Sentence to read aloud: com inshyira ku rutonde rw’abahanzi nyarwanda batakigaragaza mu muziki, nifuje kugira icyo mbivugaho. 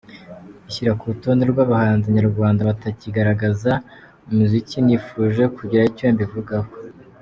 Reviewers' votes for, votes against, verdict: 1, 2, rejected